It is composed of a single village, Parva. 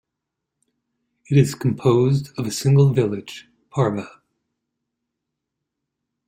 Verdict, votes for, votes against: accepted, 2, 0